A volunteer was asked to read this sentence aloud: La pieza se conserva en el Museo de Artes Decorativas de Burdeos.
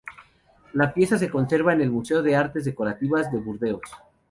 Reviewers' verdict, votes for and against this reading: accepted, 2, 0